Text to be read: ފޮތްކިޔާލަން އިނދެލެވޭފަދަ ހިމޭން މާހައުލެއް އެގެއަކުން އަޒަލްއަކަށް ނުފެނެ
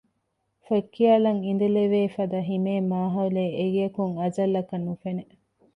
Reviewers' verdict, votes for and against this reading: rejected, 1, 2